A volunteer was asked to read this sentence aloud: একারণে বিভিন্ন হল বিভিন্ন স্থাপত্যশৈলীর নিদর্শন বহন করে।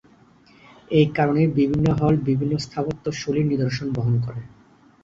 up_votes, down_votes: 4, 0